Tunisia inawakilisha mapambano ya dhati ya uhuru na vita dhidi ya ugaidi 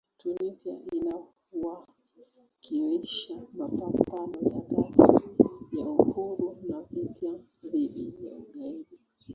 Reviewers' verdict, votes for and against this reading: rejected, 0, 2